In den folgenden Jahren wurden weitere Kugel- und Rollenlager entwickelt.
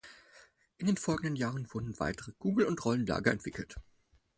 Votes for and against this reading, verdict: 4, 0, accepted